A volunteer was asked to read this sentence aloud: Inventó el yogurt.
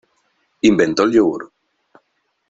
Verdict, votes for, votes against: rejected, 1, 2